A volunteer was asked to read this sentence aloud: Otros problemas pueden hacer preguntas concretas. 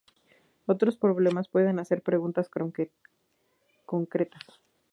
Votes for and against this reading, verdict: 0, 2, rejected